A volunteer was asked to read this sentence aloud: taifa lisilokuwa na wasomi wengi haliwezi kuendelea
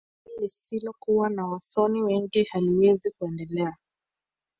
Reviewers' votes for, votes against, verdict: 2, 1, accepted